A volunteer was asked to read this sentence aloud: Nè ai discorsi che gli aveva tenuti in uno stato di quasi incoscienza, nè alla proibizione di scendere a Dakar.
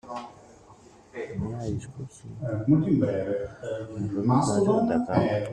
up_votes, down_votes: 0, 2